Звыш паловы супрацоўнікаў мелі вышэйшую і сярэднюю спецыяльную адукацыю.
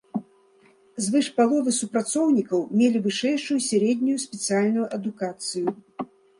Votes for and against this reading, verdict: 1, 2, rejected